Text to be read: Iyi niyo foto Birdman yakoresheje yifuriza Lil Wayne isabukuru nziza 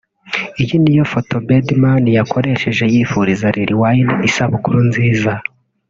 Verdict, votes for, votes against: accepted, 2, 0